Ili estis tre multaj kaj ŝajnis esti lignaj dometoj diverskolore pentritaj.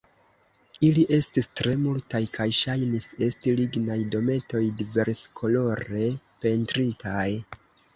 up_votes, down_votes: 2, 0